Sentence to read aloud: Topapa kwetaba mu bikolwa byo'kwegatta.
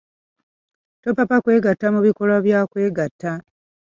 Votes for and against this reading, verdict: 1, 2, rejected